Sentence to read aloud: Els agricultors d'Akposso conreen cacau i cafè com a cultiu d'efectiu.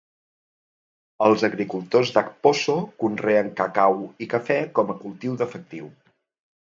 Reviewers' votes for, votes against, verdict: 3, 0, accepted